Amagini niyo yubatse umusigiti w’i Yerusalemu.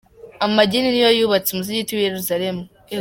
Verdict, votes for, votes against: accepted, 2, 1